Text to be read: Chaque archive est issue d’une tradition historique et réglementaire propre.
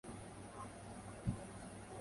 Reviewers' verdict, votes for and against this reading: rejected, 0, 2